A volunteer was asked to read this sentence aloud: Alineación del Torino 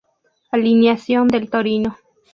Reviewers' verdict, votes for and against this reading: rejected, 0, 2